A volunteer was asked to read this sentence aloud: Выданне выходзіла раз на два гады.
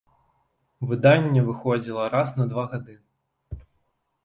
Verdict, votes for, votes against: accepted, 2, 0